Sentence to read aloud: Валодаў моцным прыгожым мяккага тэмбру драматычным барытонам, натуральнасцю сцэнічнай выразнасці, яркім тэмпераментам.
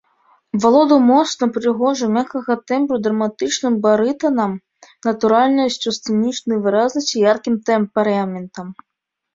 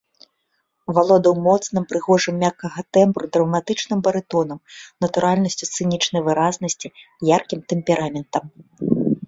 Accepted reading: second